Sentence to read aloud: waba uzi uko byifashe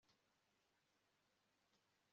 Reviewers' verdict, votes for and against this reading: rejected, 0, 2